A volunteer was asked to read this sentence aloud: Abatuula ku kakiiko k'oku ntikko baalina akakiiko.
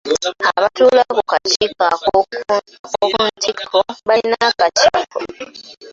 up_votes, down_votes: 0, 2